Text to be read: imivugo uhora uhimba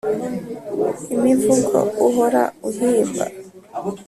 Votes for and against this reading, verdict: 2, 0, accepted